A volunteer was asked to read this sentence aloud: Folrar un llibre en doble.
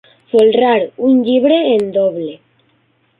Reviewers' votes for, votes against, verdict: 3, 1, accepted